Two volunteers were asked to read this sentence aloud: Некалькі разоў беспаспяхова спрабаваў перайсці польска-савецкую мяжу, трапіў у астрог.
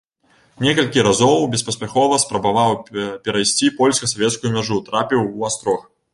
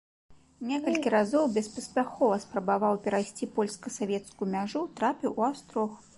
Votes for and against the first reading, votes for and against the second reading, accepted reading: 0, 2, 2, 0, second